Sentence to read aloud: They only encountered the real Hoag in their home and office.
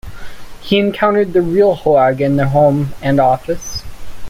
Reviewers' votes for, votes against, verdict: 0, 2, rejected